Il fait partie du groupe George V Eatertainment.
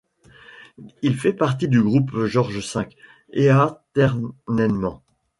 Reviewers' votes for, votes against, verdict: 0, 2, rejected